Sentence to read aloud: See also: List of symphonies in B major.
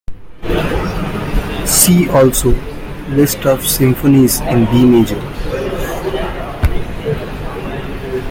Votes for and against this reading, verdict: 2, 1, accepted